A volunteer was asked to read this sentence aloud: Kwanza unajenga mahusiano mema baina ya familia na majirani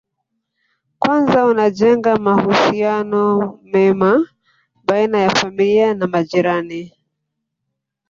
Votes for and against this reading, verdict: 1, 2, rejected